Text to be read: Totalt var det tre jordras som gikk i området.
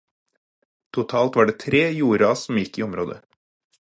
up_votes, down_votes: 4, 0